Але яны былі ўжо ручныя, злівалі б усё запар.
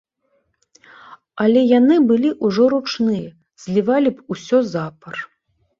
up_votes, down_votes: 2, 0